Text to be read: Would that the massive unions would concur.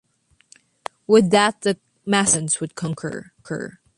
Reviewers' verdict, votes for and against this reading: rejected, 1, 2